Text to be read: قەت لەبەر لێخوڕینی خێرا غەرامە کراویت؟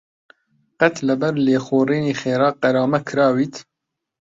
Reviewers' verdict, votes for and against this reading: accepted, 2, 1